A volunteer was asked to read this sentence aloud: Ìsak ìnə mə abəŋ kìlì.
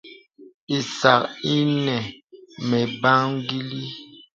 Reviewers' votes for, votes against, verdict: 1, 2, rejected